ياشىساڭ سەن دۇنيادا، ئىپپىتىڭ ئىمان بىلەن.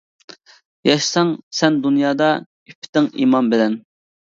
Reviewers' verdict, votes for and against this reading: accepted, 2, 0